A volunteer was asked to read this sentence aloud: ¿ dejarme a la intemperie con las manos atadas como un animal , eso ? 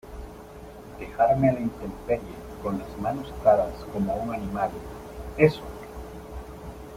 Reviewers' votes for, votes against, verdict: 0, 2, rejected